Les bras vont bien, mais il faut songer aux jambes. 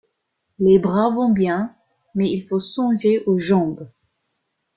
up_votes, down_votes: 2, 0